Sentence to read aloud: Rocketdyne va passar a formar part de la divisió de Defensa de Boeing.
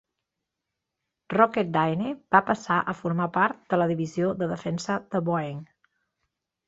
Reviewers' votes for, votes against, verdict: 2, 0, accepted